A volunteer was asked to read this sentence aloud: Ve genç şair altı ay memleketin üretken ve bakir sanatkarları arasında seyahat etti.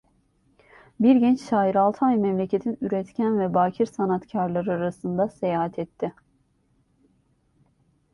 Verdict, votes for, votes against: rejected, 1, 2